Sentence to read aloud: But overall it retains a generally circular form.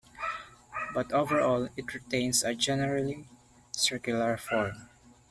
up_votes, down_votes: 3, 0